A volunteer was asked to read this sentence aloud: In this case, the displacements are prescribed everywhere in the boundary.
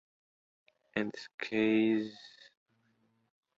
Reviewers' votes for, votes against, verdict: 0, 2, rejected